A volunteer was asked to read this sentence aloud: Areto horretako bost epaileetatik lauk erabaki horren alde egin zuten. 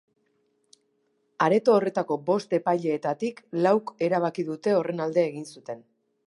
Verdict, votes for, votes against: rejected, 2, 2